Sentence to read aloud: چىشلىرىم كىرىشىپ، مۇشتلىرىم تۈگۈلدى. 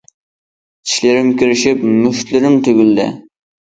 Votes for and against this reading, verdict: 2, 0, accepted